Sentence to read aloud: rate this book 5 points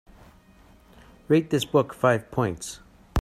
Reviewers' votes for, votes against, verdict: 0, 2, rejected